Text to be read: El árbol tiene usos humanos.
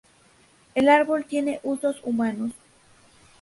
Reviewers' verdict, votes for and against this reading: accepted, 2, 0